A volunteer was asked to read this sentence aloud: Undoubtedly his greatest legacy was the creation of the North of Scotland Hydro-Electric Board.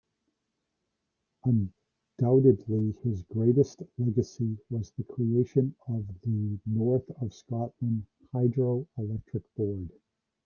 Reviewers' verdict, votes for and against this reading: rejected, 0, 2